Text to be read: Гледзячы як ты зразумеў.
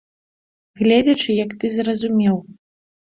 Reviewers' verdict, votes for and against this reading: accepted, 2, 0